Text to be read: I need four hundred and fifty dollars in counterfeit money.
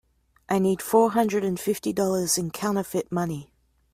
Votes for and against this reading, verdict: 2, 0, accepted